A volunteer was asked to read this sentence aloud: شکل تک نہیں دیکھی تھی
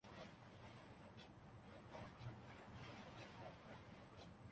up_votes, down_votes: 0, 2